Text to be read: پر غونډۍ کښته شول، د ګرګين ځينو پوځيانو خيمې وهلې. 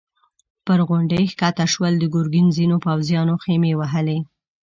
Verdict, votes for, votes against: accepted, 2, 0